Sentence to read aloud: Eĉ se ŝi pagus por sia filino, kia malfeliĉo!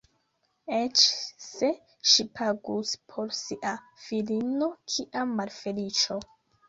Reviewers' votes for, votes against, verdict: 1, 2, rejected